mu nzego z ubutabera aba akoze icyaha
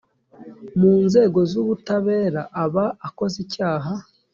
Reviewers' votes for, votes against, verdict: 2, 0, accepted